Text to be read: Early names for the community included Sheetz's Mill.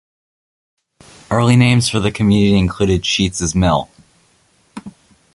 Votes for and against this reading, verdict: 2, 0, accepted